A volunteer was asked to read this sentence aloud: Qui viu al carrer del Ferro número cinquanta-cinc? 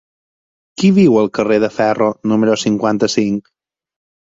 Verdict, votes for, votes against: rejected, 2, 4